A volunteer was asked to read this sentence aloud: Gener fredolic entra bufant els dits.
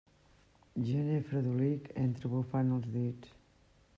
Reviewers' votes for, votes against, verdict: 1, 2, rejected